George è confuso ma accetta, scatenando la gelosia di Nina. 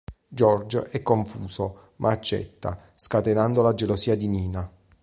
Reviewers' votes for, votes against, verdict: 2, 0, accepted